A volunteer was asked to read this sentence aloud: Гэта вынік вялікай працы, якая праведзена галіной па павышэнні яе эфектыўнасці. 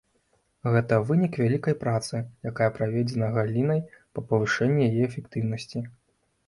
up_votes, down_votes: 1, 2